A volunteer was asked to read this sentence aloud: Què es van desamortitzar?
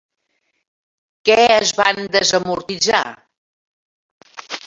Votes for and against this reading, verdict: 3, 0, accepted